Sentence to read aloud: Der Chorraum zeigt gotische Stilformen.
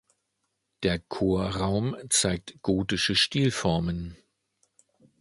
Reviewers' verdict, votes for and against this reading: accepted, 2, 0